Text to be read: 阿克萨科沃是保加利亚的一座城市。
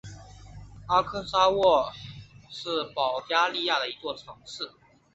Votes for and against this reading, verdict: 4, 5, rejected